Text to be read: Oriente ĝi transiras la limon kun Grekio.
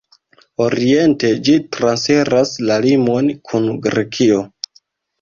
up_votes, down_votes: 2, 0